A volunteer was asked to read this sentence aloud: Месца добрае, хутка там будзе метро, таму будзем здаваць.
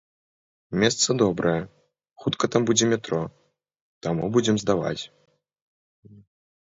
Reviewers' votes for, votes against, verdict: 2, 0, accepted